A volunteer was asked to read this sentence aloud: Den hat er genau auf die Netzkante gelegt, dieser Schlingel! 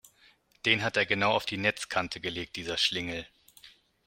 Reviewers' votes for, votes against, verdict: 2, 0, accepted